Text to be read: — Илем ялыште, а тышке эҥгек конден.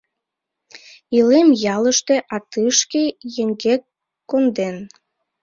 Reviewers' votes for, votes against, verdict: 0, 2, rejected